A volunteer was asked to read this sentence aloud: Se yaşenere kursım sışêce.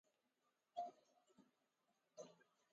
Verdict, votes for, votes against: rejected, 0, 5